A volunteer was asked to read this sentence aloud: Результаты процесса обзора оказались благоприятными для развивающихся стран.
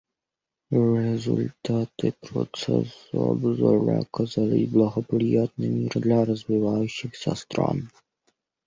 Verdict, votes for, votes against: accepted, 2, 0